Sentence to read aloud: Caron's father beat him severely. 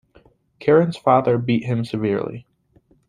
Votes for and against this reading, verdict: 2, 0, accepted